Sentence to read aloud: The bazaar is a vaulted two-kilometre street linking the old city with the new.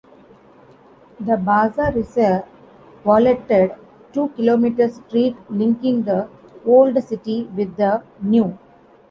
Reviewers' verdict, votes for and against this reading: rejected, 1, 2